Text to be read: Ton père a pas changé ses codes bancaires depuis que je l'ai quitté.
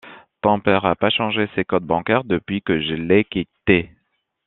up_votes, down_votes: 2, 1